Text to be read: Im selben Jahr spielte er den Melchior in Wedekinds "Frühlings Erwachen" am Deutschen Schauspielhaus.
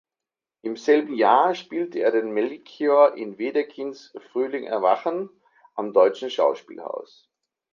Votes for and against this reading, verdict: 1, 2, rejected